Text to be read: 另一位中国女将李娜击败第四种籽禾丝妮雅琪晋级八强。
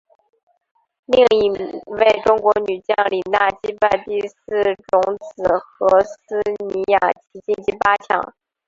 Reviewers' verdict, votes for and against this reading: rejected, 1, 2